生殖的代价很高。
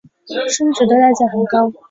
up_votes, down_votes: 2, 0